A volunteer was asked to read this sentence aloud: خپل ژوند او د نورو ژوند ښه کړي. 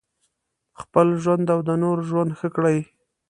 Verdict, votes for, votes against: accepted, 2, 0